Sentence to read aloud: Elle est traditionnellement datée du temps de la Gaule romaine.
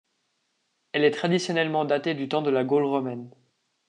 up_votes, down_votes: 2, 0